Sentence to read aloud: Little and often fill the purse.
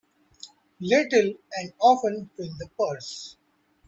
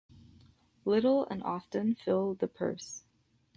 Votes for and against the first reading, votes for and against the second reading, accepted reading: 1, 2, 2, 0, second